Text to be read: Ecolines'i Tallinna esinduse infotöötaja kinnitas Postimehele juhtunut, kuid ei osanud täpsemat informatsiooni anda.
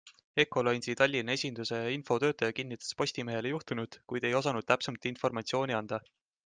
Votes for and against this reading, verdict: 3, 0, accepted